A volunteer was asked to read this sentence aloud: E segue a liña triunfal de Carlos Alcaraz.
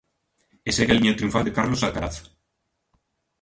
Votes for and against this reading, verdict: 1, 2, rejected